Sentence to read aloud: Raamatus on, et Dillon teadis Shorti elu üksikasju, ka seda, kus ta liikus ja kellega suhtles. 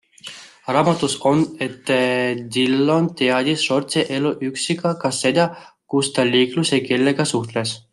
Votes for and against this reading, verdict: 1, 2, rejected